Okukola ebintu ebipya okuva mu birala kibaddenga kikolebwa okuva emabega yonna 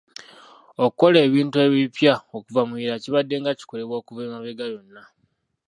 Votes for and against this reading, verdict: 1, 2, rejected